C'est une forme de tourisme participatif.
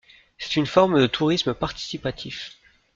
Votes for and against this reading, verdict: 2, 0, accepted